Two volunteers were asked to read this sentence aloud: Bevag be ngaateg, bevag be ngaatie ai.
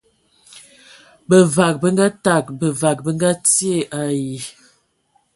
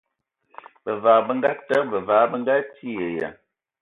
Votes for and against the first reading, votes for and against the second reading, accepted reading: 2, 0, 0, 2, first